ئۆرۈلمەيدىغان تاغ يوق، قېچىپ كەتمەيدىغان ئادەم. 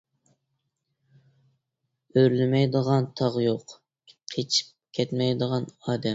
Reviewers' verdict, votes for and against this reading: rejected, 1, 2